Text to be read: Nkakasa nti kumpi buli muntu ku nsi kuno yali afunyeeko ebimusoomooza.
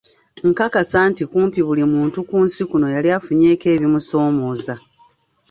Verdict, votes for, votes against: accepted, 2, 0